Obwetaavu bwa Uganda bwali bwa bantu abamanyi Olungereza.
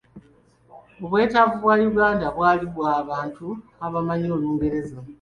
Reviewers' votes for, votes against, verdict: 0, 2, rejected